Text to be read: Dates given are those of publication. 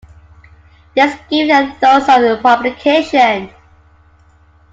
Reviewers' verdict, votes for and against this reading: rejected, 0, 2